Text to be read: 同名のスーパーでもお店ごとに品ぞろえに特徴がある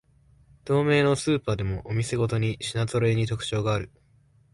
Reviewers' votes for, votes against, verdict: 2, 0, accepted